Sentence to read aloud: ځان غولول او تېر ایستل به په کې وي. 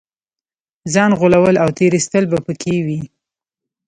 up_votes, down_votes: 1, 2